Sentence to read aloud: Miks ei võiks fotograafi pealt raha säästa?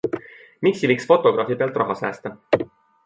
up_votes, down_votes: 2, 0